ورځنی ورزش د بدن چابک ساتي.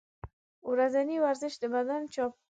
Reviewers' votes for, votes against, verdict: 1, 2, rejected